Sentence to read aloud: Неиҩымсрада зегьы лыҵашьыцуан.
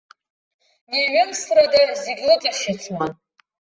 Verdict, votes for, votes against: accepted, 2, 0